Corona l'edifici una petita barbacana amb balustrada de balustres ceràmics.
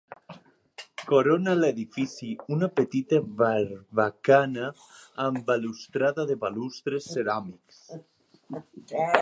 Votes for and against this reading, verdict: 1, 2, rejected